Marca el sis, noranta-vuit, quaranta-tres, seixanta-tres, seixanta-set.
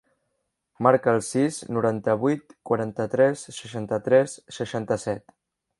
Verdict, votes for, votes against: rejected, 1, 2